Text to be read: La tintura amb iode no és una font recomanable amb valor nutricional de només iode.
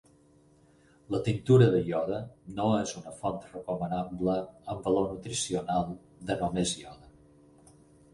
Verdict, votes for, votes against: rejected, 2, 6